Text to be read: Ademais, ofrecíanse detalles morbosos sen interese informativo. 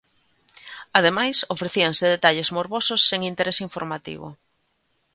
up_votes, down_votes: 2, 0